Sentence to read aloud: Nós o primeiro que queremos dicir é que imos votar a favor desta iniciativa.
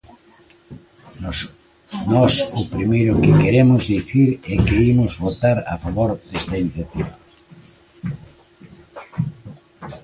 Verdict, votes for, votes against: rejected, 0, 2